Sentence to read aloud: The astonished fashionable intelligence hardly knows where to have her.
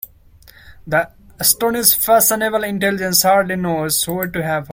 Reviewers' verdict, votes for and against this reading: rejected, 0, 2